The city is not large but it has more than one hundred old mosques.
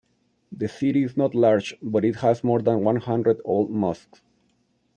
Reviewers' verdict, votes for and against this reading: rejected, 0, 2